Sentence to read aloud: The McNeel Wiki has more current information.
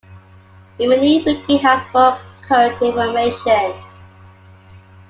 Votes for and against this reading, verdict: 0, 2, rejected